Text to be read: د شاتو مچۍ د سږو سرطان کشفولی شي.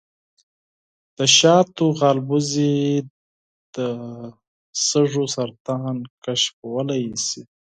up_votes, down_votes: 2, 4